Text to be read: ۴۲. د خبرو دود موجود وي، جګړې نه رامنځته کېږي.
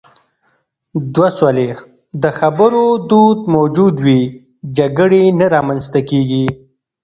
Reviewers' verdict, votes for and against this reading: rejected, 0, 2